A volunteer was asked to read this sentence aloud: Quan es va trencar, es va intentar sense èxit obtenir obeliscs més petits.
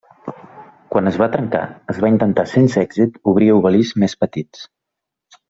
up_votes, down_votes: 0, 2